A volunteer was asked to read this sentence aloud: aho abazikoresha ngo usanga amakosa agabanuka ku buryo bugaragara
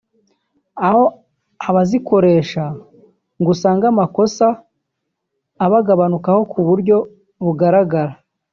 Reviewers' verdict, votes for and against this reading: rejected, 1, 2